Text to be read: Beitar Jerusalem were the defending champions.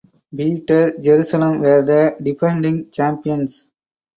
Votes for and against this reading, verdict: 4, 0, accepted